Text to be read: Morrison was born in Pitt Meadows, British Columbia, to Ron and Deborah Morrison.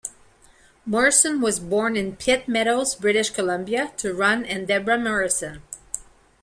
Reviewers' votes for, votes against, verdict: 2, 0, accepted